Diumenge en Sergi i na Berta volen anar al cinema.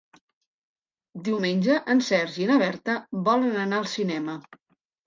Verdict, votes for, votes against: accepted, 2, 0